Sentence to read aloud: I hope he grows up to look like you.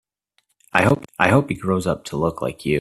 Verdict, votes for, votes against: rejected, 1, 2